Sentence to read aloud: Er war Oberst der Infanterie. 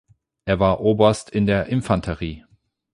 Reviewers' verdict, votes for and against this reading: rejected, 4, 8